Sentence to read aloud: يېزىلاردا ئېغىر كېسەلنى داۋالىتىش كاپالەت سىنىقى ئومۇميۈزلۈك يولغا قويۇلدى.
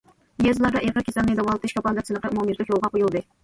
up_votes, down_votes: 1, 2